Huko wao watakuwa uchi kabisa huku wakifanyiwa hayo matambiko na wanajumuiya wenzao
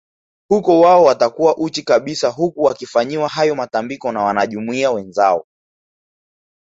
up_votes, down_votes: 2, 0